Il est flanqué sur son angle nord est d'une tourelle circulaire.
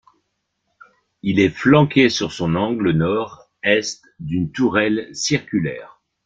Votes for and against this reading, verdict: 0, 2, rejected